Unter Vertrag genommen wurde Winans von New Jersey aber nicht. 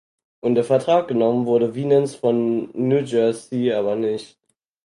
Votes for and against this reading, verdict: 2, 4, rejected